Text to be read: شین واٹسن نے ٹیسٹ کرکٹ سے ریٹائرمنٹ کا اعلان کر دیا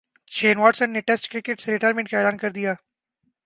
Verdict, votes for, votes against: accepted, 3, 0